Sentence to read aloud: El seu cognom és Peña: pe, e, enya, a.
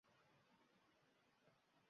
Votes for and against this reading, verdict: 0, 2, rejected